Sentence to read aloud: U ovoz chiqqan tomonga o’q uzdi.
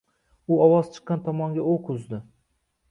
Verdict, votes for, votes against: accepted, 2, 0